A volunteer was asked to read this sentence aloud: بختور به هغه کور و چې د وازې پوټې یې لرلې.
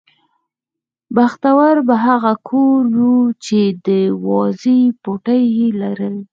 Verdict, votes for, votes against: rejected, 2, 4